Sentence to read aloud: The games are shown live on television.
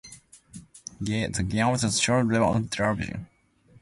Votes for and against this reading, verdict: 0, 2, rejected